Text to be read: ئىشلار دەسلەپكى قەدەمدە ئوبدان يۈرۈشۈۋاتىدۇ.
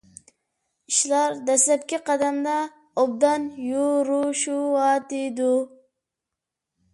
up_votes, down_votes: 0, 2